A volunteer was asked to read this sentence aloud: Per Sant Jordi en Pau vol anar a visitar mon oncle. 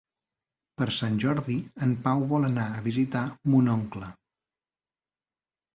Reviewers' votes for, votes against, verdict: 3, 0, accepted